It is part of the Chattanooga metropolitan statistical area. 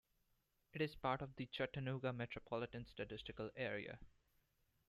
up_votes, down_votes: 2, 0